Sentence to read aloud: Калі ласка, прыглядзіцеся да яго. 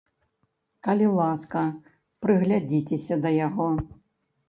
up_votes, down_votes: 2, 0